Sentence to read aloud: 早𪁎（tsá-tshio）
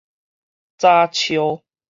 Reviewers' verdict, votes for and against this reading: accepted, 4, 0